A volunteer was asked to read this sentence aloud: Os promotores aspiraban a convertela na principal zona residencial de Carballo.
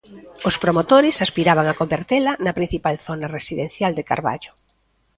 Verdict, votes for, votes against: accepted, 2, 0